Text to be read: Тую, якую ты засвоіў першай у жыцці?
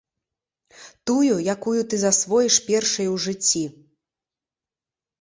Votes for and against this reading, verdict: 0, 2, rejected